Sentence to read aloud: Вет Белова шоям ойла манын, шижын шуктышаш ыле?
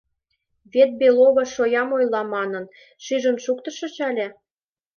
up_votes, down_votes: 1, 2